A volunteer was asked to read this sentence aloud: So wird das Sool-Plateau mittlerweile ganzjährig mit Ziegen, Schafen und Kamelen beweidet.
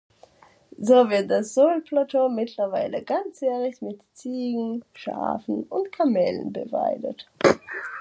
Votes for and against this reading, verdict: 2, 0, accepted